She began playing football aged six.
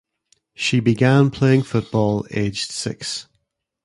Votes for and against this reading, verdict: 2, 0, accepted